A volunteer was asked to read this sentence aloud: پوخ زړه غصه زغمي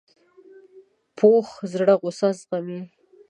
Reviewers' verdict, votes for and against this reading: accepted, 2, 1